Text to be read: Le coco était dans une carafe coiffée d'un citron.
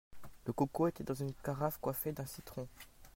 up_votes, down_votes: 2, 0